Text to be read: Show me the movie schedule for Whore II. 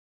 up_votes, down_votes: 0, 2